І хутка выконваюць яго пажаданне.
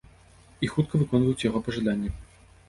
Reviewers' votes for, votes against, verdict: 3, 0, accepted